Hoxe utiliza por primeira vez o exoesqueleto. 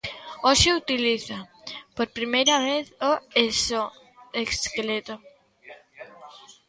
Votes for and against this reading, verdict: 1, 2, rejected